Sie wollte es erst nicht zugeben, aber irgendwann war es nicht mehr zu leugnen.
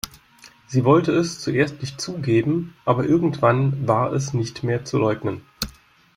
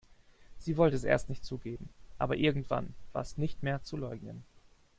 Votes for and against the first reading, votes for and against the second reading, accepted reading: 0, 2, 2, 0, second